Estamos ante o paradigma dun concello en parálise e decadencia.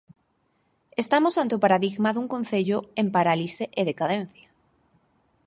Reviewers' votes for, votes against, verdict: 4, 2, accepted